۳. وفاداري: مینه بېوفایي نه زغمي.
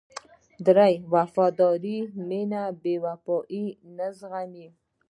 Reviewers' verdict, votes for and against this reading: rejected, 0, 2